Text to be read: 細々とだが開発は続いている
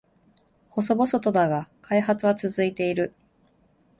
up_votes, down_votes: 3, 0